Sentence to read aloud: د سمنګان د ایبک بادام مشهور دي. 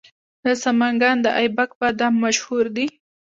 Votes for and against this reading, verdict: 2, 1, accepted